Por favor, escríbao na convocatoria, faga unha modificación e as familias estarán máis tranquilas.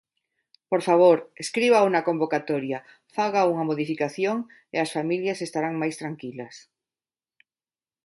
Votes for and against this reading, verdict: 2, 0, accepted